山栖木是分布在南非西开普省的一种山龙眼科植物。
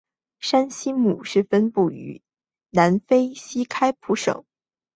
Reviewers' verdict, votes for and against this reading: rejected, 1, 2